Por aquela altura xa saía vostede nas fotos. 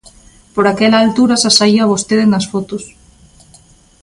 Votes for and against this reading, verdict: 2, 0, accepted